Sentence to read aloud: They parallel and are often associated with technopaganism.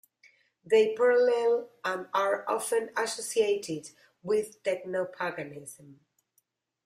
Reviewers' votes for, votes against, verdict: 0, 2, rejected